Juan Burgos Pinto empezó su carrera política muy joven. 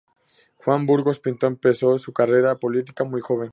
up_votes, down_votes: 2, 0